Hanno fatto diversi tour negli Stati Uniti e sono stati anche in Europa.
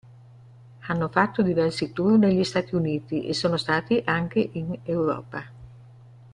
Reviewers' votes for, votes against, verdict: 2, 0, accepted